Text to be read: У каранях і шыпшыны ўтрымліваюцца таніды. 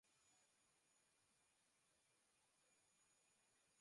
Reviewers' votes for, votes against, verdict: 0, 2, rejected